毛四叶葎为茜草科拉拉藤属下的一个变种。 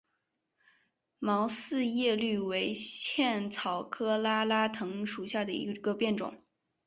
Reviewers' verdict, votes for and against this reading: rejected, 0, 2